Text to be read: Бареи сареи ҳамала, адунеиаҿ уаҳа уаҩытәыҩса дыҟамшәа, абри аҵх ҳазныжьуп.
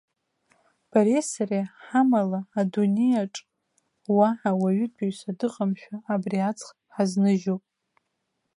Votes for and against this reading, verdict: 2, 0, accepted